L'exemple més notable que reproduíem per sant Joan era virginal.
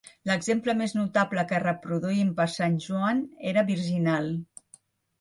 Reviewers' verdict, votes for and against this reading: rejected, 1, 2